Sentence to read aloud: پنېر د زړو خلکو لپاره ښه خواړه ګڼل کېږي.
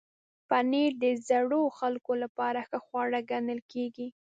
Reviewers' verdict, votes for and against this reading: rejected, 0, 2